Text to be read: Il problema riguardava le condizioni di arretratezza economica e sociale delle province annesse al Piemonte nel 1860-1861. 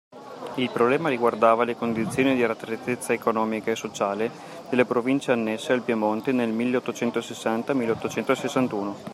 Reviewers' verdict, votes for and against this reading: rejected, 0, 2